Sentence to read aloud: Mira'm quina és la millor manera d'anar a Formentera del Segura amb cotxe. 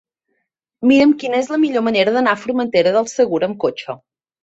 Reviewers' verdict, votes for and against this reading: accepted, 2, 0